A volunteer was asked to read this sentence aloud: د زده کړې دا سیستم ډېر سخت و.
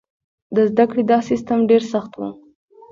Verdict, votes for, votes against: accepted, 2, 1